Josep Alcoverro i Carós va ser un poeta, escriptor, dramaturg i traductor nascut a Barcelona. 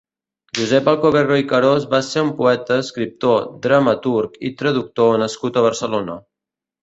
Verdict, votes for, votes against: accepted, 2, 0